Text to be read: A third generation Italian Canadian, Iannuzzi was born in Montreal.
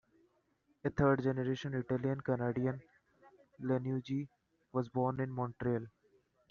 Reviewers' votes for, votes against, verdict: 2, 0, accepted